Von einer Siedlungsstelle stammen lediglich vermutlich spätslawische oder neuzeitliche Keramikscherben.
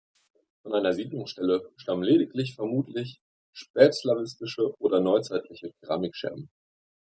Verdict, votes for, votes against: rejected, 0, 2